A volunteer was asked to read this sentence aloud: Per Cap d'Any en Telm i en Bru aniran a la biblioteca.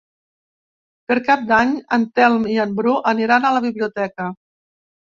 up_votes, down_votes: 2, 0